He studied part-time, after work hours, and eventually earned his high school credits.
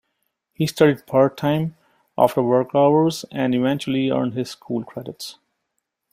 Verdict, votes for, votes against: rejected, 0, 2